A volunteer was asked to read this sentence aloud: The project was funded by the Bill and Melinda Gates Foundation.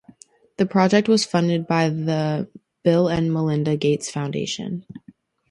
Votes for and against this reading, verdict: 4, 0, accepted